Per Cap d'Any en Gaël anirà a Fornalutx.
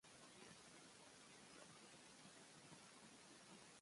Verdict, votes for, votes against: rejected, 0, 2